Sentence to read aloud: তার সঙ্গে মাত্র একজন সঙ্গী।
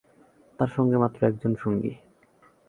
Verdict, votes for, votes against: accepted, 4, 1